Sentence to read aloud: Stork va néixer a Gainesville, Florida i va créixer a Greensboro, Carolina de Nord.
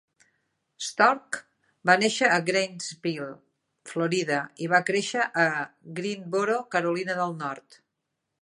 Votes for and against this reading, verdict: 0, 2, rejected